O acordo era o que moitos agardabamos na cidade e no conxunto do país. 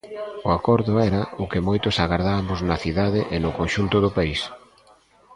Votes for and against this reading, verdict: 0, 2, rejected